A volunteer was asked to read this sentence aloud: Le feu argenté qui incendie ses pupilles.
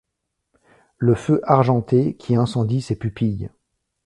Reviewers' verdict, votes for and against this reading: accepted, 2, 0